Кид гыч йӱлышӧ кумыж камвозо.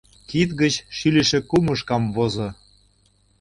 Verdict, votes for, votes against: rejected, 0, 2